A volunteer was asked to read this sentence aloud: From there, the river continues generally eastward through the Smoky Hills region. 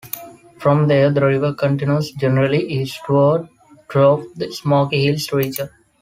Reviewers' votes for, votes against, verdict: 1, 2, rejected